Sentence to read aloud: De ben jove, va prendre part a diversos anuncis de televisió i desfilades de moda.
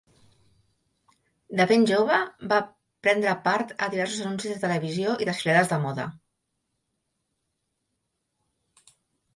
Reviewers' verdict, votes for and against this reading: accepted, 2, 0